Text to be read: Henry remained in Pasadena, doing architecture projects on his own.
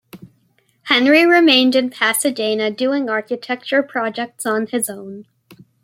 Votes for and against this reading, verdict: 2, 0, accepted